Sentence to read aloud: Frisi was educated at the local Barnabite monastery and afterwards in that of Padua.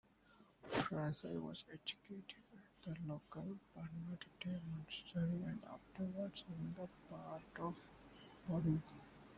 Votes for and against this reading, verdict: 0, 2, rejected